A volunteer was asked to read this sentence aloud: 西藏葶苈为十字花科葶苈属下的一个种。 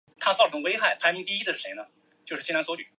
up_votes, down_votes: 1, 3